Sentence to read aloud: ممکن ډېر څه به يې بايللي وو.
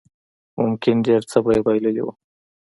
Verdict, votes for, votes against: accepted, 2, 0